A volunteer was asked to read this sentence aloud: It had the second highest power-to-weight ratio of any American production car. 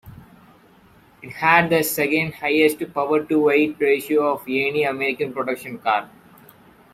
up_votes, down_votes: 2, 0